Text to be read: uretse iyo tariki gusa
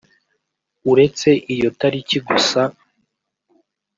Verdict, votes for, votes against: accepted, 2, 0